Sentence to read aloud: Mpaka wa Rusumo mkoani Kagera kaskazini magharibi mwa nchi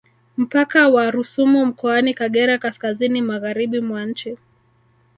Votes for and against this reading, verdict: 1, 2, rejected